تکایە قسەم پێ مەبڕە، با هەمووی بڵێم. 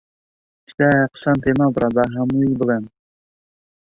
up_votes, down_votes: 0, 2